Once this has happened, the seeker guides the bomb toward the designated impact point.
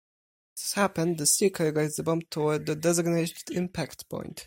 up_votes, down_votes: 2, 4